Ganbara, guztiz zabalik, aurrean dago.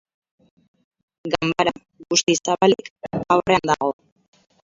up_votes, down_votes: 0, 4